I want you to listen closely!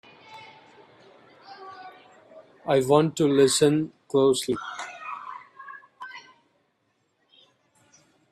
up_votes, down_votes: 0, 2